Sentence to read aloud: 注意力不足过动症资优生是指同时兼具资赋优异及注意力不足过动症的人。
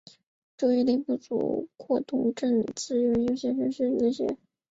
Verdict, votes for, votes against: rejected, 0, 3